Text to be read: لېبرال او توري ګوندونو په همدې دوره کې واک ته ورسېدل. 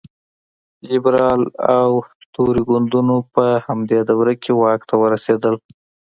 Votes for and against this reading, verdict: 2, 0, accepted